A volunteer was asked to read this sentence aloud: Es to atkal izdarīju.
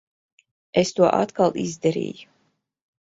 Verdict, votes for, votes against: accepted, 2, 0